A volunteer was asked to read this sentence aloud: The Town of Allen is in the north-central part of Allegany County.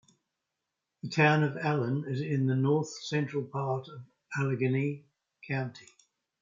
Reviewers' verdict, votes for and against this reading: accepted, 3, 2